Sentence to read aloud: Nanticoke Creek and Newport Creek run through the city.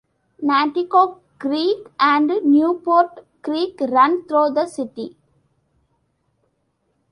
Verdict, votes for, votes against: accepted, 2, 0